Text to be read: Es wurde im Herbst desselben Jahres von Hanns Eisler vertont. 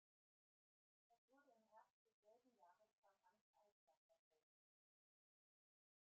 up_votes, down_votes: 0, 2